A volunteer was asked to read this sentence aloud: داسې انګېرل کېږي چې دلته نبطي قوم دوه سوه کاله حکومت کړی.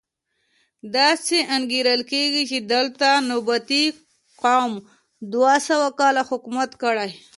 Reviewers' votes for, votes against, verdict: 2, 0, accepted